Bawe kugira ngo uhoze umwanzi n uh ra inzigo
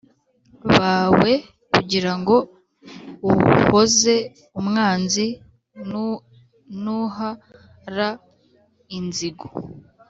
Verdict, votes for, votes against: rejected, 0, 2